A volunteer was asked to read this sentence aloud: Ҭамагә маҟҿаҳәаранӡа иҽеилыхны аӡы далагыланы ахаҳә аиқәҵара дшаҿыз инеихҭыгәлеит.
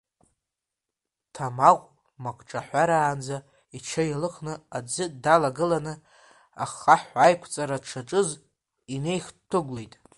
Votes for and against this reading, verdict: 1, 2, rejected